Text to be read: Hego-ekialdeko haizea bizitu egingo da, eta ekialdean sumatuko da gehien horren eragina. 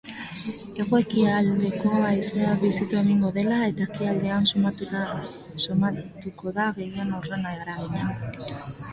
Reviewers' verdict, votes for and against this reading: rejected, 0, 2